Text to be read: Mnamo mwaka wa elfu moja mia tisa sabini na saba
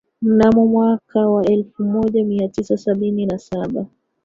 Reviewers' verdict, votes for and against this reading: rejected, 1, 2